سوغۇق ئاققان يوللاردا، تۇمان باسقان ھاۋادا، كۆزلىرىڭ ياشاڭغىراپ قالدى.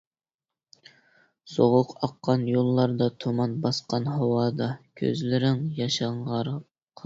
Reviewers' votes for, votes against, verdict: 0, 2, rejected